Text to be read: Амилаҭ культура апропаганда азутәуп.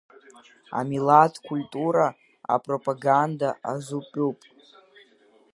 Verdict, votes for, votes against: accepted, 2, 1